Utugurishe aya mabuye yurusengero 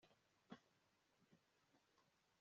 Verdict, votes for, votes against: rejected, 0, 2